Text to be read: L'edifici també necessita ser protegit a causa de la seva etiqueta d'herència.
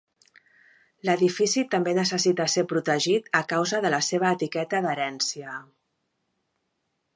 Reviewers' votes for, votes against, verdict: 2, 0, accepted